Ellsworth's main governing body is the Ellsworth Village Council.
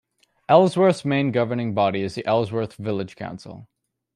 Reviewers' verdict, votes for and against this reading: rejected, 1, 2